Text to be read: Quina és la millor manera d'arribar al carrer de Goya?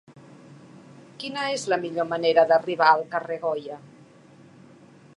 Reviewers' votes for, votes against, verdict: 0, 2, rejected